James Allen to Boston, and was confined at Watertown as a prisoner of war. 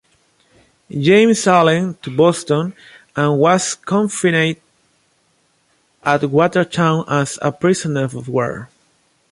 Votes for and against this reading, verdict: 2, 2, rejected